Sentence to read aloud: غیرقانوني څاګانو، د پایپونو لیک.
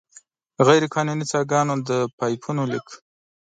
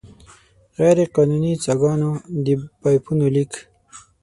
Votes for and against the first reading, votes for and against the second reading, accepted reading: 2, 0, 0, 6, first